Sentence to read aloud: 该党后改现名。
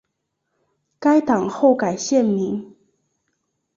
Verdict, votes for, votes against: accepted, 2, 0